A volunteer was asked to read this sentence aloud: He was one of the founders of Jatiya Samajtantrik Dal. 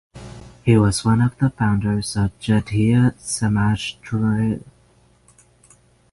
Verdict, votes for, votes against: rejected, 3, 6